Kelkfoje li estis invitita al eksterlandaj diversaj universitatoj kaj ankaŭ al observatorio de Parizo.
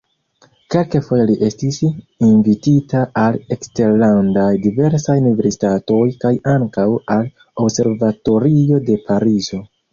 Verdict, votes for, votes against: rejected, 1, 2